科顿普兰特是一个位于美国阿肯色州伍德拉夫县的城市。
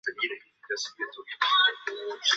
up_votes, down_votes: 2, 3